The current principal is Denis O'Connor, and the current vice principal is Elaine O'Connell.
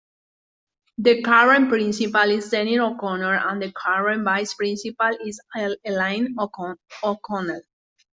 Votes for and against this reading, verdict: 0, 2, rejected